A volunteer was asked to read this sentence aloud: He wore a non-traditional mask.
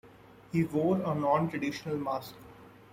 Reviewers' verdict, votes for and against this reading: accepted, 2, 1